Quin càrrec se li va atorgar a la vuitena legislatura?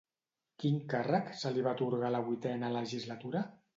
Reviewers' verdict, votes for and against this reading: accepted, 2, 0